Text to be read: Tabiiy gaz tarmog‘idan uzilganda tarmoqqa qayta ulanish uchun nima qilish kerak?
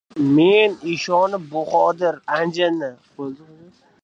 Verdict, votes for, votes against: rejected, 0, 2